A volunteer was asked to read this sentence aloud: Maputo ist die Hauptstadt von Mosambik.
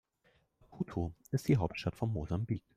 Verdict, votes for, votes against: rejected, 1, 2